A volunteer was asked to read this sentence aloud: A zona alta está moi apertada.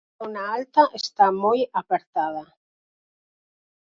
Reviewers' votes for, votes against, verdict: 2, 4, rejected